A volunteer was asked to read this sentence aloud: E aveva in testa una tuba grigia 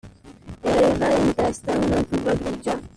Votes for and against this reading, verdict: 0, 2, rejected